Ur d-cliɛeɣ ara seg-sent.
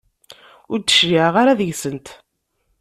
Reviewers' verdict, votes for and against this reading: rejected, 1, 2